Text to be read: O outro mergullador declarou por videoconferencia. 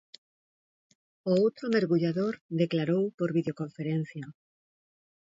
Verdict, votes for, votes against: accepted, 2, 0